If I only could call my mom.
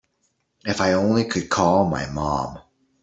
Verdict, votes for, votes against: accepted, 2, 0